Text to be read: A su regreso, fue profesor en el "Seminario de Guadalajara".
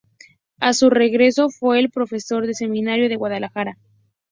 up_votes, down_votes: 0, 2